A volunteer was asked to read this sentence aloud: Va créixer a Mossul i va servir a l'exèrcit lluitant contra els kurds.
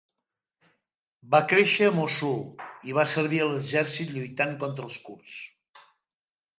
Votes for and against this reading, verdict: 2, 0, accepted